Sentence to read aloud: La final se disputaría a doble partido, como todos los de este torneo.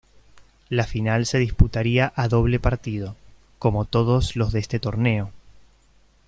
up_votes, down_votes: 2, 0